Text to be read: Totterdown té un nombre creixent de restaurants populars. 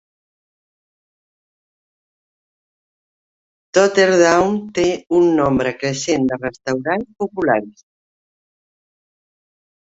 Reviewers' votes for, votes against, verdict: 1, 2, rejected